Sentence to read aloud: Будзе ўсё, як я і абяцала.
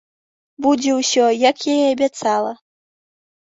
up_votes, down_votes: 2, 0